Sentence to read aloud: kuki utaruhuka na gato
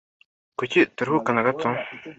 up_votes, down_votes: 2, 1